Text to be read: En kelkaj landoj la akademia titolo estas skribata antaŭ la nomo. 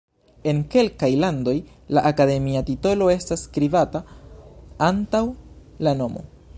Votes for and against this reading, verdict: 1, 2, rejected